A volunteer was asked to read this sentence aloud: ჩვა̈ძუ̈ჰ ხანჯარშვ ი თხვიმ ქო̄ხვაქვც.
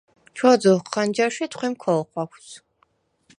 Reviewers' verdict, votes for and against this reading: rejected, 2, 4